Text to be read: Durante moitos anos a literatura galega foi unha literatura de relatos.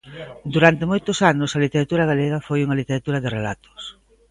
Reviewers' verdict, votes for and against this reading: accepted, 2, 0